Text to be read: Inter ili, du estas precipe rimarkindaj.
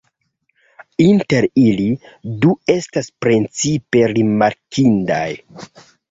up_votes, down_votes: 1, 2